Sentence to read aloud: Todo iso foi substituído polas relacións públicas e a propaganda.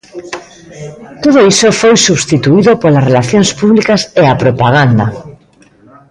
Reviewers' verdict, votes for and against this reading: accepted, 2, 0